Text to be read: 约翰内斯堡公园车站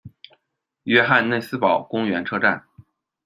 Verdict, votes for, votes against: accepted, 2, 0